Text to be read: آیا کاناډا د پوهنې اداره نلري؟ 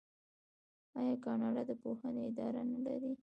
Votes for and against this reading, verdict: 2, 1, accepted